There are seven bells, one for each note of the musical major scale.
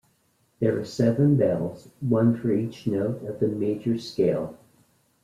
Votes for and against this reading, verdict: 0, 2, rejected